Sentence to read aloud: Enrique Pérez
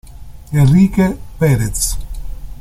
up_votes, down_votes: 0, 2